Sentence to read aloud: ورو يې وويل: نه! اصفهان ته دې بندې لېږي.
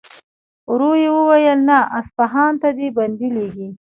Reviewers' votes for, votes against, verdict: 2, 0, accepted